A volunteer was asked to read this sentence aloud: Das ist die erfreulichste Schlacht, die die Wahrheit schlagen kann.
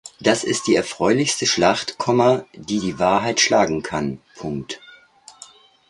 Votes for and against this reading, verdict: 1, 2, rejected